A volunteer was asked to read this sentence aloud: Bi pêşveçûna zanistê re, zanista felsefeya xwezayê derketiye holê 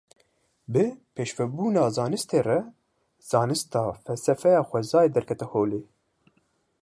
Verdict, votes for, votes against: rejected, 1, 2